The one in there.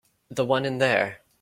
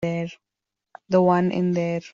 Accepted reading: first